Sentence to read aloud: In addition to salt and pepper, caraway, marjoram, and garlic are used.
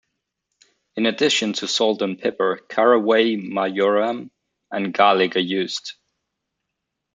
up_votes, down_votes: 2, 0